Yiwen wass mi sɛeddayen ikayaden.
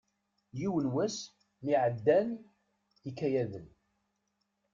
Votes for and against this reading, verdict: 0, 2, rejected